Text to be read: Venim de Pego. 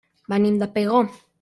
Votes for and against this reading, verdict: 0, 2, rejected